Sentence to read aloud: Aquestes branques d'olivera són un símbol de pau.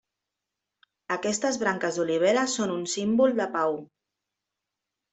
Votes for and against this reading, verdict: 2, 0, accepted